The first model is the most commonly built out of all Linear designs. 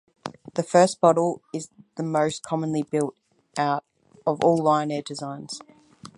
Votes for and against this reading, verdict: 4, 2, accepted